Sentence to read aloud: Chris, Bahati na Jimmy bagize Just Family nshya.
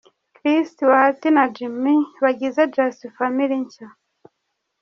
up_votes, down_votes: 1, 2